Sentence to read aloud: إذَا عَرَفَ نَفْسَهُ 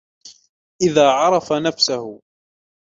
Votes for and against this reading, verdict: 2, 1, accepted